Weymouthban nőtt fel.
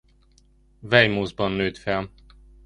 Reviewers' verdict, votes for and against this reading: accepted, 2, 0